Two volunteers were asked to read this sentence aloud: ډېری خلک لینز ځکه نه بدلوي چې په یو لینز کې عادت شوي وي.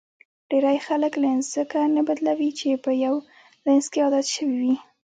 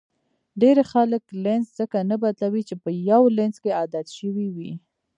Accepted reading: first